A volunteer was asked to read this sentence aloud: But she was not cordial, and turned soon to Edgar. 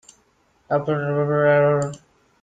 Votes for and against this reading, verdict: 0, 3, rejected